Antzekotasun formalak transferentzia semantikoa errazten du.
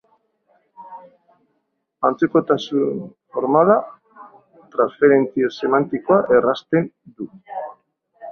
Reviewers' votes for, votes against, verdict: 0, 2, rejected